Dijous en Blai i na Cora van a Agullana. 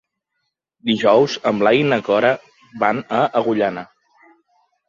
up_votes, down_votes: 3, 0